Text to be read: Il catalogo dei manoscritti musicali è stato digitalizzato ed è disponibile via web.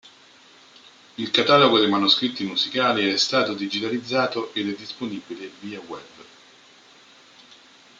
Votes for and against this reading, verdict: 2, 1, accepted